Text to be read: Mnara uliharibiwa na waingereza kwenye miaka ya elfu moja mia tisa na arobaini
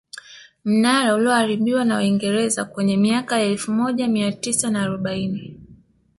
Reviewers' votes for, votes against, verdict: 0, 2, rejected